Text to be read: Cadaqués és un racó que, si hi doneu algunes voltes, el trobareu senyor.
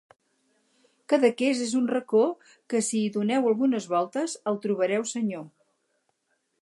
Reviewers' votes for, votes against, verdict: 4, 0, accepted